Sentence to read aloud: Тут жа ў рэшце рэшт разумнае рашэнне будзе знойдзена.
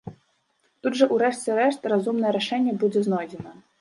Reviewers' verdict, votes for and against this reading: accepted, 2, 0